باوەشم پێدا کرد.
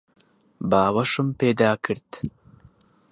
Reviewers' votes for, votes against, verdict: 2, 2, rejected